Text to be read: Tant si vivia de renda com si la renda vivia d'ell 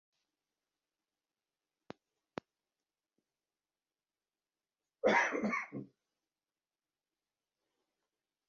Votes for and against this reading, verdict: 0, 2, rejected